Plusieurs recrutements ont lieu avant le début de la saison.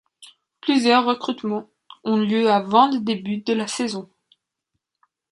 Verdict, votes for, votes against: rejected, 1, 2